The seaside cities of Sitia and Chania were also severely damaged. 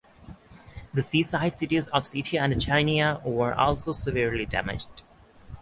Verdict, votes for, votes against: accepted, 6, 0